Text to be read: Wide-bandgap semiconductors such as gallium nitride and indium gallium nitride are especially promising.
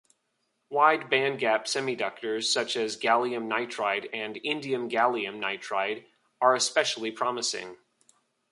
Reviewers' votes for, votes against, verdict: 0, 2, rejected